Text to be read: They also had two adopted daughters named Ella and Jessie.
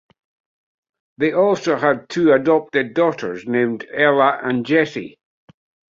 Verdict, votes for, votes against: accepted, 2, 0